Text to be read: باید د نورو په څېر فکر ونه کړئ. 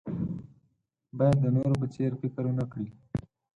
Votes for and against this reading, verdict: 0, 4, rejected